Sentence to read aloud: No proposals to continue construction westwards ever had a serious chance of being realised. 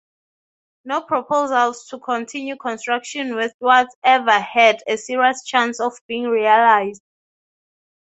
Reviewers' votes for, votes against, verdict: 3, 0, accepted